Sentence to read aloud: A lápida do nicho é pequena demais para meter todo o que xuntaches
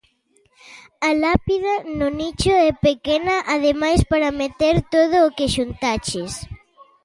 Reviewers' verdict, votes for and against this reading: rejected, 0, 2